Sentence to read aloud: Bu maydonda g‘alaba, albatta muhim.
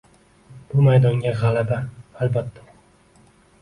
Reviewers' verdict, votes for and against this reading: rejected, 0, 2